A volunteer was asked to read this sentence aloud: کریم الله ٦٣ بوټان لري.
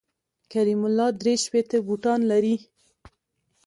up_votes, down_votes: 0, 2